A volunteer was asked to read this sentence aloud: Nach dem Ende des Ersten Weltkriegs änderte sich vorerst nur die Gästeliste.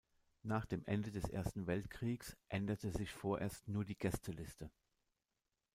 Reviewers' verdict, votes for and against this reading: accepted, 2, 0